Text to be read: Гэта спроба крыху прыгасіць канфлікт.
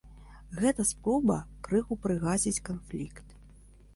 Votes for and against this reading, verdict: 1, 3, rejected